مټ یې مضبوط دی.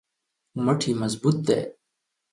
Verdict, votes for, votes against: accepted, 2, 0